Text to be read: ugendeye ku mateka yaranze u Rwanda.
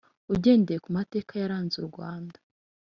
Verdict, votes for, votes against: rejected, 0, 2